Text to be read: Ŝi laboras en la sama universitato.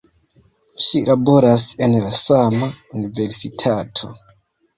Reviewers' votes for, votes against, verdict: 2, 0, accepted